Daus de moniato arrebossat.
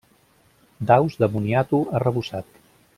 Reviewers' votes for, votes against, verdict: 2, 0, accepted